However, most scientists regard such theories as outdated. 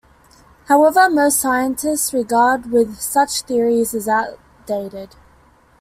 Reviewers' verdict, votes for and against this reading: rejected, 0, 2